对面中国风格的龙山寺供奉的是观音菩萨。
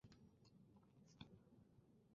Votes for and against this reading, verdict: 0, 3, rejected